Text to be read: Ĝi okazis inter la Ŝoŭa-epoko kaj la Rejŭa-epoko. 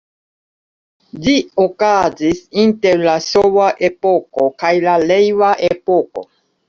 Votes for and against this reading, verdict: 1, 2, rejected